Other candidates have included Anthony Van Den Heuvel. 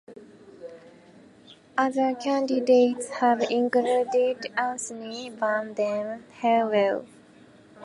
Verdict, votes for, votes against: rejected, 0, 2